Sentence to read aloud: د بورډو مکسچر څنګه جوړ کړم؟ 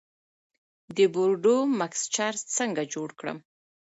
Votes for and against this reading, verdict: 2, 0, accepted